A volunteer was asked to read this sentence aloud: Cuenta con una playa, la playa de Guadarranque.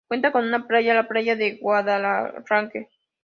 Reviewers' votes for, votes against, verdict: 0, 2, rejected